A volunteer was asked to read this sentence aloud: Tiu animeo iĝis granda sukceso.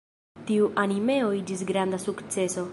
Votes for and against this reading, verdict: 0, 2, rejected